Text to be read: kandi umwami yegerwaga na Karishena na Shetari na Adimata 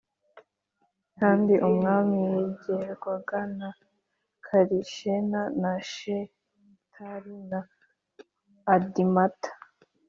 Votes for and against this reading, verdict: 2, 1, accepted